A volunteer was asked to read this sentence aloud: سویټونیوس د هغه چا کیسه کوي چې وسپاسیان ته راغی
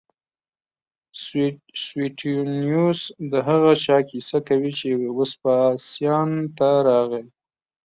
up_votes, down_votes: 2, 0